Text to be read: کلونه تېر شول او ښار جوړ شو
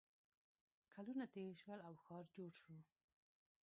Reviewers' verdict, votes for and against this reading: rejected, 0, 2